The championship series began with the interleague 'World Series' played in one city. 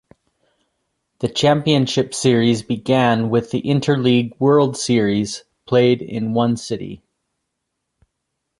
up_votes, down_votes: 2, 0